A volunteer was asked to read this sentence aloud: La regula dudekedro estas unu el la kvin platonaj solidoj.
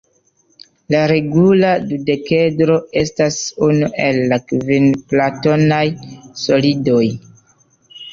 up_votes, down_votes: 0, 2